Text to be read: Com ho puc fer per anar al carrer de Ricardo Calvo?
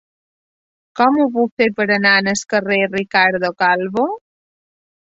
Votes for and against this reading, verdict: 0, 2, rejected